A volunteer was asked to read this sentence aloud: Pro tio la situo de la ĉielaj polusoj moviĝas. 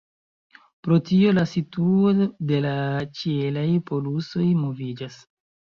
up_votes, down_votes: 0, 2